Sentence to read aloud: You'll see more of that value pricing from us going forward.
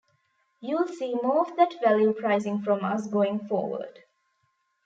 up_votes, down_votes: 1, 2